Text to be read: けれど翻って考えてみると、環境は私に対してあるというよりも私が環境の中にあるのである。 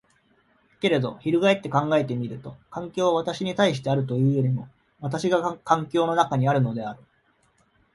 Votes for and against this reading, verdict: 2, 0, accepted